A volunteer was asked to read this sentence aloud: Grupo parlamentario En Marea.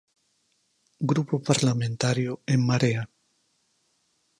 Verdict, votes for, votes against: accepted, 4, 0